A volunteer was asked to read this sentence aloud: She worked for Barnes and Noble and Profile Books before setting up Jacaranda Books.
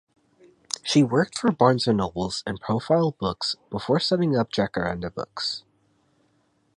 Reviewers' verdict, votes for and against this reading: rejected, 2, 2